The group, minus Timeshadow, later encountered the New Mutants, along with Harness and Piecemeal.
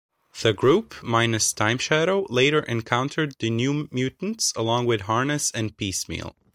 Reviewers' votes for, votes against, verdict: 3, 0, accepted